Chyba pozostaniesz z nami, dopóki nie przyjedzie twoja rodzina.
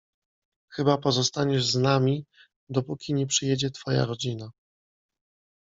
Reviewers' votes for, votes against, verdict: 2, 0, accepted